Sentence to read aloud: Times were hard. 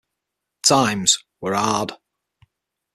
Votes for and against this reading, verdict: 6, 0, accepted